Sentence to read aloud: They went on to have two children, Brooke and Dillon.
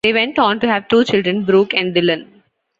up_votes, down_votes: 0, 2